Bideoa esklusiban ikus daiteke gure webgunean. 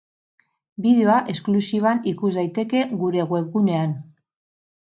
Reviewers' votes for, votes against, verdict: 6, 0, accepted